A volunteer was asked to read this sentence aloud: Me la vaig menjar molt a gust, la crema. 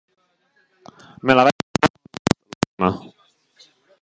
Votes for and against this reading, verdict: 0, 2, rejected